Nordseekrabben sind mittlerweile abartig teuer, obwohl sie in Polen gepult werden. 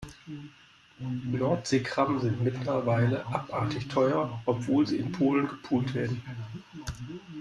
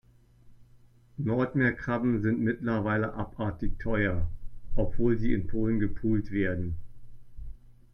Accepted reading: first